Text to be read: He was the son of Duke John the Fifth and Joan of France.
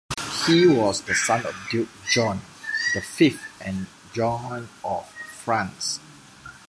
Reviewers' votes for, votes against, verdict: 0, 2, rejected